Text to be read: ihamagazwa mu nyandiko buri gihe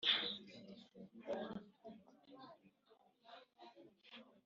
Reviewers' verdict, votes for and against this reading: rejected, 1, 2